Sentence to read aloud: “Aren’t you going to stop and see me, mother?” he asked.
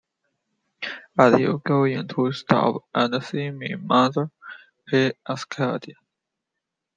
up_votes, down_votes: 1, 2